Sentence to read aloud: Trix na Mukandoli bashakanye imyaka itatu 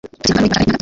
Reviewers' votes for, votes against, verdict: 0, 2, rejected